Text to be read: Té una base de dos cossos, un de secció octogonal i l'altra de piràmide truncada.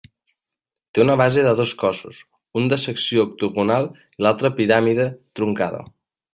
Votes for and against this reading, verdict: 1, 2, rejected